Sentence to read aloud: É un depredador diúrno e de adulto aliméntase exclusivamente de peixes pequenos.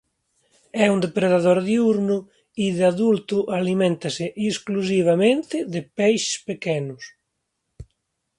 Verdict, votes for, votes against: rejected, 1, 2